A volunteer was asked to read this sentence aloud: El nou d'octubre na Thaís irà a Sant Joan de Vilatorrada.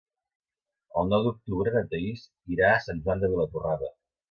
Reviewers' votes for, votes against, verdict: 2, 0, accepted